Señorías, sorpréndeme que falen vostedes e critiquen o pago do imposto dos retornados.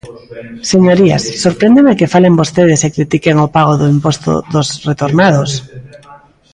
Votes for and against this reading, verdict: 0, 2, rejected